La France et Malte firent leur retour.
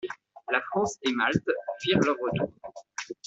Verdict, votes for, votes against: rejected, 1, 2